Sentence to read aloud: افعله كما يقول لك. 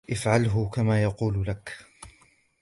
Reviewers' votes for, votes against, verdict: 2, 0, accepted